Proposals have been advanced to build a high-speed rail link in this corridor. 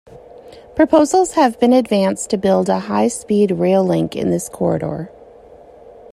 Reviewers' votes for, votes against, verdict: 2, 0, accepted